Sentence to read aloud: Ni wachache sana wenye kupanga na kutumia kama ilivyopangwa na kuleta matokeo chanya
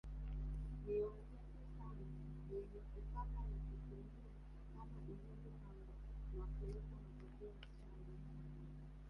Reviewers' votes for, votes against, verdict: 1, 2, rejected